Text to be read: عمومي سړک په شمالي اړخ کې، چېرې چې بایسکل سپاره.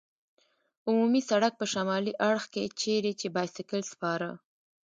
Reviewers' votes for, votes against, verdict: 1, 2, rejected